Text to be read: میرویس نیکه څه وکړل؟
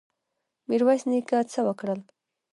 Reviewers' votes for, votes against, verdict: 1, 2, rejected